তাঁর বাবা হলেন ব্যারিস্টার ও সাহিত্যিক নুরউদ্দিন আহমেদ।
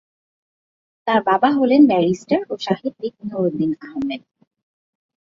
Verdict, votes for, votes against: accepted, 3, 0